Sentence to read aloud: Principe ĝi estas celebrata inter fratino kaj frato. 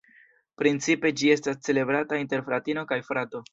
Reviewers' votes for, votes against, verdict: 2, 0, accepted